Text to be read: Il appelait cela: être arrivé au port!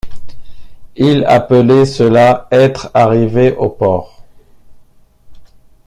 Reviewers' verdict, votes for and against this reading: accepted, 2, 0